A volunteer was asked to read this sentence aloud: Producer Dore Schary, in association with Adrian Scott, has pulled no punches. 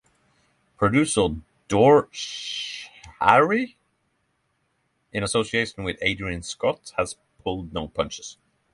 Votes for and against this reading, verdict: 3, 0, accepted